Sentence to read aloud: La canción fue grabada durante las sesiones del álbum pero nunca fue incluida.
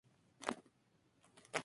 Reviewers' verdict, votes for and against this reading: rejected, 0, 2